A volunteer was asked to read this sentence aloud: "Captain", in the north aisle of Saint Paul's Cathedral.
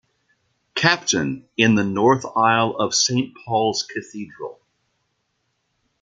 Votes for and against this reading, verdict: 2, 0, accepted